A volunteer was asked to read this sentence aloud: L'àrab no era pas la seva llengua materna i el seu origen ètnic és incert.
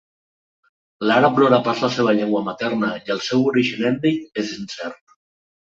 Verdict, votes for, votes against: accepted, 2, 0